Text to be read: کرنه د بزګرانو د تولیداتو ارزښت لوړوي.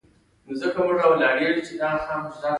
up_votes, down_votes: 1, 2